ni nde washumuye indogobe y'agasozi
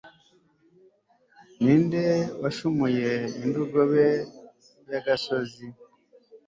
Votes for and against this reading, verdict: 4, 0, accepted